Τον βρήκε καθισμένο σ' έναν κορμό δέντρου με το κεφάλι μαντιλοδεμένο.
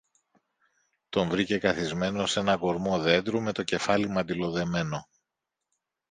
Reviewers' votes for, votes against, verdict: 2, 0, accepted